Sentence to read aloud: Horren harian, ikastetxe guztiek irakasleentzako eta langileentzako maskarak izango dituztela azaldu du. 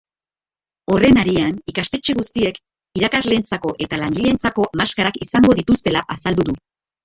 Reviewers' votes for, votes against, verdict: 0, 2, rejected